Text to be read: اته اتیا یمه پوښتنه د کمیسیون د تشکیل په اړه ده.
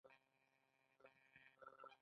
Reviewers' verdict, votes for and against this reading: rejected, 0, 2